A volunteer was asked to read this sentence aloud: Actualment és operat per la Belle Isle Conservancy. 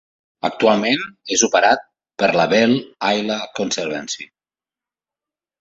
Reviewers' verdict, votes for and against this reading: rejected, 1, 2